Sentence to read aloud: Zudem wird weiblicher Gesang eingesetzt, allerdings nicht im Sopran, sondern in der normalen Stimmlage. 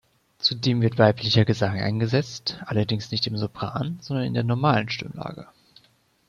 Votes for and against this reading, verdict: 2, 1, accepted